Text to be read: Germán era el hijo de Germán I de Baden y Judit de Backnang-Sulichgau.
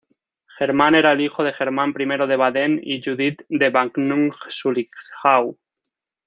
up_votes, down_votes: 0, 2